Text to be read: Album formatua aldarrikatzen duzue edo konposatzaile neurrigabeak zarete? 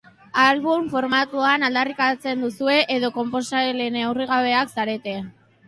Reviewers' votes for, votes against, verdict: 4, 1, accepted